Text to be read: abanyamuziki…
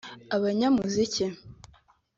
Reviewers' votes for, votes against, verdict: 3, 0, accepted